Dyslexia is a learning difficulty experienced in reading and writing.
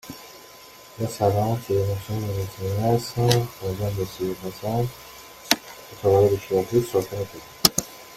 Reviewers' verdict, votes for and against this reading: rejected, 0, 2